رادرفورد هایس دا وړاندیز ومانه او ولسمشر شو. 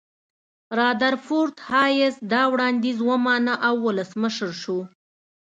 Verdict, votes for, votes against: accepted, 2, 0